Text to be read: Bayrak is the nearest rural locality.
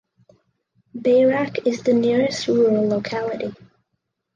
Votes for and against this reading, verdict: 4, 0, accepted